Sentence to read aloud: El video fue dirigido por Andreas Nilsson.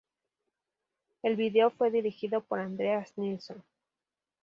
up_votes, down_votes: 2, 0